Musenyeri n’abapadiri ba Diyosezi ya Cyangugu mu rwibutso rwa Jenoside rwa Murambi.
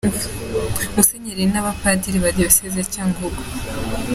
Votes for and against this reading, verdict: 0, 2, rejected